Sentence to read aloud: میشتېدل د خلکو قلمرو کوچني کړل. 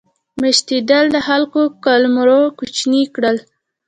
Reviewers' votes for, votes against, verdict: 2, 0, accepted